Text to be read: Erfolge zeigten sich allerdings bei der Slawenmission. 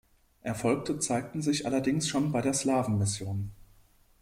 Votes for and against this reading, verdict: 0, 2, rejected